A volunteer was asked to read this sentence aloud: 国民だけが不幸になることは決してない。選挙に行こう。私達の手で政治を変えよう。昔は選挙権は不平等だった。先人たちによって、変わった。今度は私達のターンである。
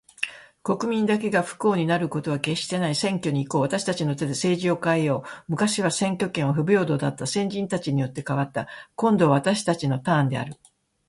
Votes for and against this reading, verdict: 2, 1, accepted